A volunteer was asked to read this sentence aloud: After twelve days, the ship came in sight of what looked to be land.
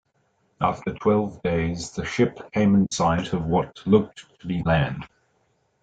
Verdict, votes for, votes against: accepted, 3, 1